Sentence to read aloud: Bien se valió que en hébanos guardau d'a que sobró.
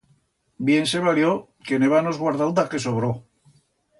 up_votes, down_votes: 2, 0